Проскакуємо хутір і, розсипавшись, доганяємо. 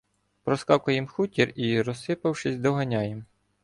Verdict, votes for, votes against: rejected, 1, 2